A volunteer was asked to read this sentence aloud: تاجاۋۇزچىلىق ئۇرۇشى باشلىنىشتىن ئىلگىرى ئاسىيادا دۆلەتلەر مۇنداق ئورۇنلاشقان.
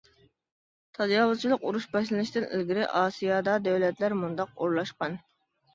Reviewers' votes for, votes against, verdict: 0, 2, rejected